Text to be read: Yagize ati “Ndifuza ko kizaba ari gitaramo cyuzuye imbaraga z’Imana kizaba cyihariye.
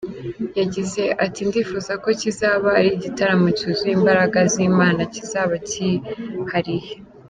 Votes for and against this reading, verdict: 2, 0, accepted